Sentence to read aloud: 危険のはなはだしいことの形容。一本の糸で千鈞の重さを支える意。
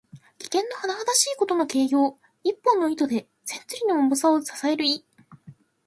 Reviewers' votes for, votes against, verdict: 2, 0, accepted